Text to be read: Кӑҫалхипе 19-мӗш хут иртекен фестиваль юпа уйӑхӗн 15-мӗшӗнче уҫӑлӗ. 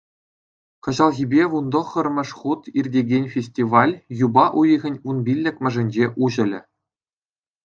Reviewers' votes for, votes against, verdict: 0, 2, rejected